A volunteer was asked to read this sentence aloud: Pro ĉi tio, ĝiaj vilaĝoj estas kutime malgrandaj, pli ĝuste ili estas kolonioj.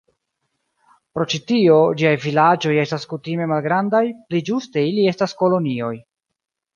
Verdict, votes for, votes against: accepted, 2, 0